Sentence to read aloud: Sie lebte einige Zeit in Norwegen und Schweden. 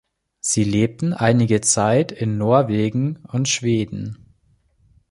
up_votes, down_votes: 0, 3